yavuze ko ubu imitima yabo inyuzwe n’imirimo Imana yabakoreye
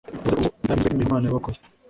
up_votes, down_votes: 1, 2